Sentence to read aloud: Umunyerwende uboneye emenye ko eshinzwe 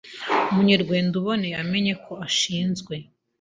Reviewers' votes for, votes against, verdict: 0, 2, rejected